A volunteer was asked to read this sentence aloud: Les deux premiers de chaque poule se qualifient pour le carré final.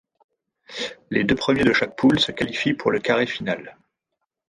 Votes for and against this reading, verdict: 1, 2, rejected